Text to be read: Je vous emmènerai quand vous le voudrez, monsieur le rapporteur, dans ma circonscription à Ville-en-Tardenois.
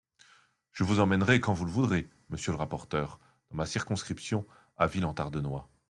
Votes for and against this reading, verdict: 2, 1, accepted